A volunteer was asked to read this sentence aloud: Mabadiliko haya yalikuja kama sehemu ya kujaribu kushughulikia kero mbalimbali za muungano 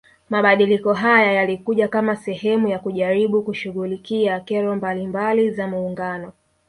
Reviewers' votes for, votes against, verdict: 1, 2, rejected